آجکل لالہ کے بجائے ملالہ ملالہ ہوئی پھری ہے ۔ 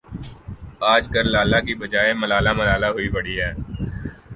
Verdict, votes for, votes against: rejected, 1, 2